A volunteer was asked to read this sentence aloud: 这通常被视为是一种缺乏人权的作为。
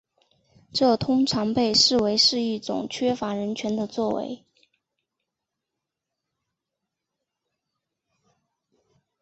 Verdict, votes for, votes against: rejected, 1, 2